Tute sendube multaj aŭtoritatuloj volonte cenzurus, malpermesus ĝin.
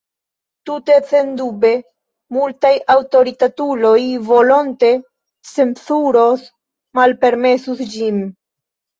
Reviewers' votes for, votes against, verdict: 2, 0, accepted